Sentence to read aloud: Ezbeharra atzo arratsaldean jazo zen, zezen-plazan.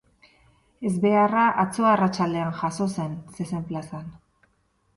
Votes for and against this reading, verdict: 6, 0, accepted